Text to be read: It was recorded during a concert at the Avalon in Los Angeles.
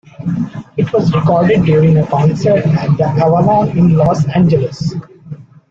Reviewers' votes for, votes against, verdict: 1, 2, rejected